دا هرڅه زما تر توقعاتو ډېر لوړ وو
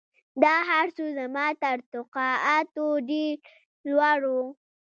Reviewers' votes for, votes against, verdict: 1, 2, rejected